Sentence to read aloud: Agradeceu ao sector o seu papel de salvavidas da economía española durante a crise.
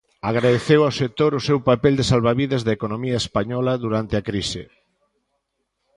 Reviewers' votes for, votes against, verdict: 2, 0, accepted